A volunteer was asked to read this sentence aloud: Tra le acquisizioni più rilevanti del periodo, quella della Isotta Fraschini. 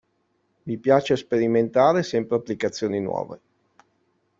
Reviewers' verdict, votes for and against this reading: rejected, 0, 2